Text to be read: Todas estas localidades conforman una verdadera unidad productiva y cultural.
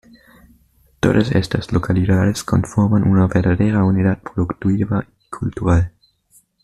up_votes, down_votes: 1, 2